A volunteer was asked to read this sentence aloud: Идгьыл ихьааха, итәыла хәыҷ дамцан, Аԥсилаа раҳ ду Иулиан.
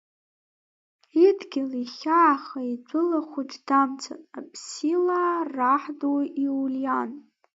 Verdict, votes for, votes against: rejected, 1, 2